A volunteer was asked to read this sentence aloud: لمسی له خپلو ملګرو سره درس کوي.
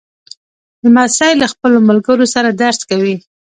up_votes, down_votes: 0, 2